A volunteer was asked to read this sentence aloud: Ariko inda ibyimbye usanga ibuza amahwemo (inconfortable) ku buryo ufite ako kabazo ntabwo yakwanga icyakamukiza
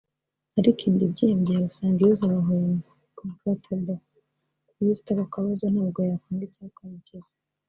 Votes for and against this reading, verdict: 1, 2, rejected